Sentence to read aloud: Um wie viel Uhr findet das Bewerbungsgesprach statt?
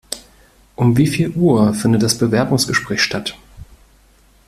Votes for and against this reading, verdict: 2, 0, accepted